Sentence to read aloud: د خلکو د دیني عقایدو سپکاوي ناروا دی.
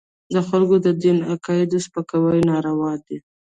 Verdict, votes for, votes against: rejected, 0, 2